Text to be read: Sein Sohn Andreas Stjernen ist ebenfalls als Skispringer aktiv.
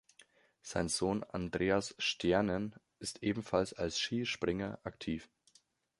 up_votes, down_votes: 2, 0